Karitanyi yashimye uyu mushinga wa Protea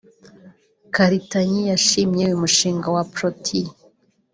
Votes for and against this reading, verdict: 2, 0, accepted